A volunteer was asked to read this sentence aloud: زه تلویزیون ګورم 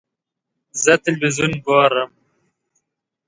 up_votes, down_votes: 2, 0